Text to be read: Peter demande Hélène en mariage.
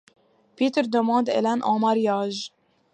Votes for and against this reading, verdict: 2, 1, accepted